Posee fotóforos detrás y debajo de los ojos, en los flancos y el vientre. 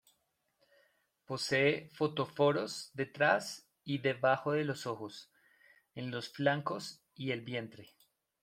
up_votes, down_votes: 2, 0